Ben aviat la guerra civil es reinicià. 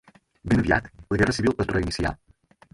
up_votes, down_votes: 6, 2